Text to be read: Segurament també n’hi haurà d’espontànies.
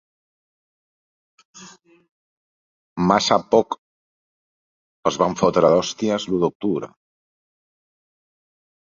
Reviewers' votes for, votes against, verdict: 0, 2, rejected